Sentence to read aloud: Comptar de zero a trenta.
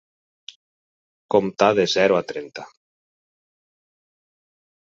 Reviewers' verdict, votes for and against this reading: accepted, 6, 0